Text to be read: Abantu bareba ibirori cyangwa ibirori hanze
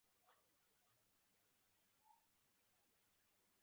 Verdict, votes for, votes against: rejected, 0, 2